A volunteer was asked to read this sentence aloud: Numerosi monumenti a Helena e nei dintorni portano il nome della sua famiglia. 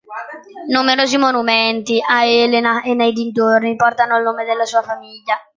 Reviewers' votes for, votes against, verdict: 2, 0, accepted